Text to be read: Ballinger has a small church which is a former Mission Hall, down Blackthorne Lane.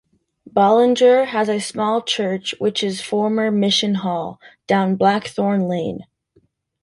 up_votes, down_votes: 1, 2